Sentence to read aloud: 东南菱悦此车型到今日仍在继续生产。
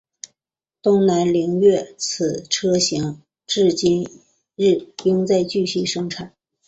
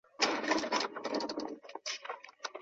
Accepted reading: second